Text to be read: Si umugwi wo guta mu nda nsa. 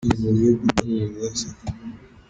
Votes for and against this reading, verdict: 0, 2, rejected